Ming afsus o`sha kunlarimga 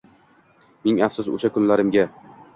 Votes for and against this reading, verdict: 2, 1, accepted